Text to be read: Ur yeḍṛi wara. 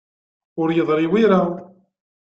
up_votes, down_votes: 1, 2